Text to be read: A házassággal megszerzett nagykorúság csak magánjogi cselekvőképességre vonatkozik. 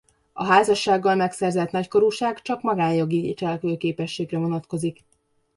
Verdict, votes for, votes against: rejected, 1, 2